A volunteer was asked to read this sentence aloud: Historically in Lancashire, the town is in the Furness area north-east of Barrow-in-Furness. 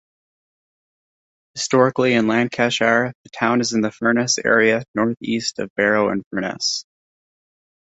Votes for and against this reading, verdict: 1, 2, rejected